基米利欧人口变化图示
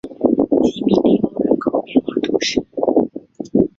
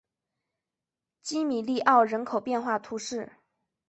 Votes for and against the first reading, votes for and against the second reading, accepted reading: 0, 2, 3, 1, second